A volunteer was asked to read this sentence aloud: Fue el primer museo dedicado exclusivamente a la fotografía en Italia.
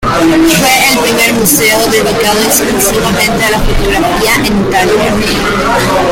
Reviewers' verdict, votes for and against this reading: rejected, 0, 2